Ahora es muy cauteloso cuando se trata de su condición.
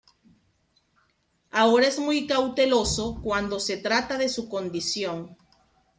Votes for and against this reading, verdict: 2, 0, accepted